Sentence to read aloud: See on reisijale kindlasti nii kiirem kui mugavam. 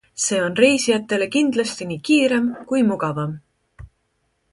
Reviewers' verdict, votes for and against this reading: accepted, 2, 1